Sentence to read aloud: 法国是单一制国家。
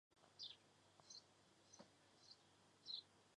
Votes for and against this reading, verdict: 1, 4, rejected